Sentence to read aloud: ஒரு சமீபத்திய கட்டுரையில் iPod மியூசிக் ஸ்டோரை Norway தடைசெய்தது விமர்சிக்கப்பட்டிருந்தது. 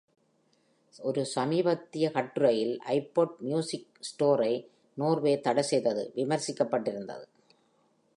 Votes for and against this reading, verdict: 2, 0, accepted